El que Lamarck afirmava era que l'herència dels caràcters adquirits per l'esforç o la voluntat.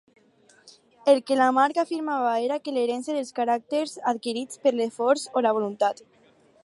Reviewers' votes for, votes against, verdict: 4, 0, accepted